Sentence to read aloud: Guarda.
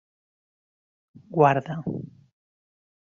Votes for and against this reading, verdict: 3, 0, accepted